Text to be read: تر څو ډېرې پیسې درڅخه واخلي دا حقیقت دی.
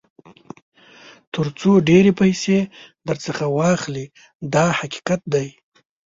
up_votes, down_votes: 0, 2